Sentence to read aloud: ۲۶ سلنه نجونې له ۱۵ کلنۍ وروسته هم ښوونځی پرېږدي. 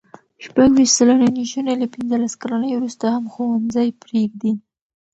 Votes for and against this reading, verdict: 0, 2, rejected